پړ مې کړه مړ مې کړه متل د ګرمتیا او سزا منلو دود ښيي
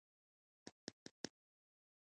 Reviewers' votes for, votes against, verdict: 1, 2, rejected